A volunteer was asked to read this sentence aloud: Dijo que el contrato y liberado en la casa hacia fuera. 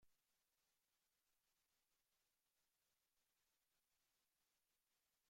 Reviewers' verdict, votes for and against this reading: rejected, 0, 2